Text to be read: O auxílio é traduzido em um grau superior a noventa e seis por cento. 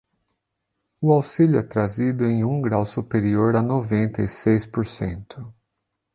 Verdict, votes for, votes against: rejected, 0, 2